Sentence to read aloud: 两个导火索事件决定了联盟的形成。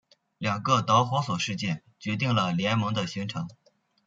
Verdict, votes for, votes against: rejected, 1, 2